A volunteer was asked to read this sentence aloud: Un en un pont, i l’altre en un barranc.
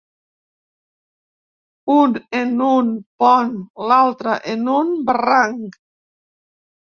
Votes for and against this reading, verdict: 0, 2, rejected